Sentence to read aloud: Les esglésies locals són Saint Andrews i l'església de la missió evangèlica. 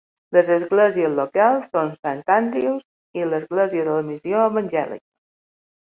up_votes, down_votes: 2, 0